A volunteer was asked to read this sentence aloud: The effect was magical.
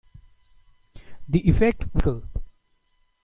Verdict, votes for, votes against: rejected, 0, 2